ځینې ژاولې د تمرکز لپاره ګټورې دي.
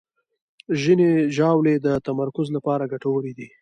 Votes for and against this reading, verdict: 2, 0, accepted